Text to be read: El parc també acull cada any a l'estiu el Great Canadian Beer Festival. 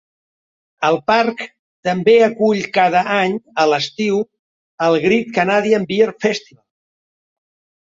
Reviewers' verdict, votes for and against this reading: rejected, 0, 2